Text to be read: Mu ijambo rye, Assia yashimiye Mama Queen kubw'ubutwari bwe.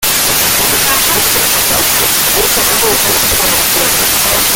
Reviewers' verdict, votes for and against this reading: rejected, 0, 2